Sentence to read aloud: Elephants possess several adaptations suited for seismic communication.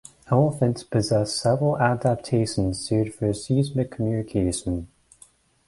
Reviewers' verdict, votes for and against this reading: accepted, 2, 0